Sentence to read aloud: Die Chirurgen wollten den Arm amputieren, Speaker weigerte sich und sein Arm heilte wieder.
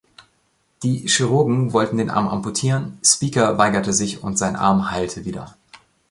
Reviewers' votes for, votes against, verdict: 2, 0, accepted